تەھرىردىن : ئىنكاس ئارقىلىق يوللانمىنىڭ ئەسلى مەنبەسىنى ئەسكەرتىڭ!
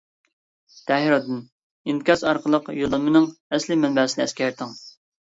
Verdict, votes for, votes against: accepted, 2, 0